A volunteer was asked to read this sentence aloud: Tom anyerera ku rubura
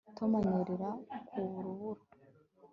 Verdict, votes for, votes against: accepted, 2, 0